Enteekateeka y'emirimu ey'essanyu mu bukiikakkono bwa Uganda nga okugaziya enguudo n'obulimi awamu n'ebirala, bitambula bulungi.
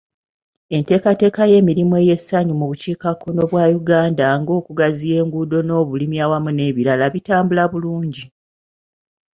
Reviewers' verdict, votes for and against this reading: accepted, 2, 0